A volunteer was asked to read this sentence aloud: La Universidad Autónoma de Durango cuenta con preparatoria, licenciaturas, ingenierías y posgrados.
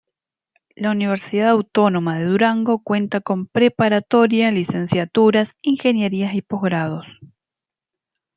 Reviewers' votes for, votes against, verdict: 2, 0, accepted